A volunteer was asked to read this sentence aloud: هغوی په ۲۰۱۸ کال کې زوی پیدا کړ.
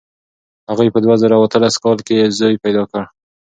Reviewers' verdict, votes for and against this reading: rejected, 0, 2